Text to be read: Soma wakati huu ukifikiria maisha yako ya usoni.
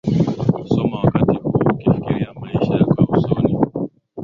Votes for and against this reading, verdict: 13, 5, accepted